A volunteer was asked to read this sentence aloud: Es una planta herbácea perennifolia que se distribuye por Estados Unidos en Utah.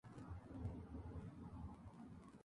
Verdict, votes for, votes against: accepted, 2, 0